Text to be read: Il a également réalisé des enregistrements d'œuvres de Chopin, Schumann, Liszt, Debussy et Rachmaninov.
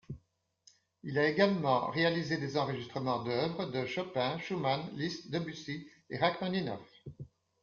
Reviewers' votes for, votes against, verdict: 2, 0, accepted